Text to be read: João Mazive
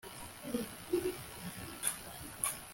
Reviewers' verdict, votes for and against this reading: rejected, 0, 2